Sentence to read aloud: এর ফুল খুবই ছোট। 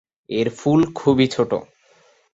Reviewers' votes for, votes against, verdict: 2, 0, accepted